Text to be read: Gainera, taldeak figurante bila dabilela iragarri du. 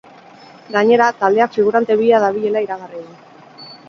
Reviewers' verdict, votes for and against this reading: accepted, 4, 0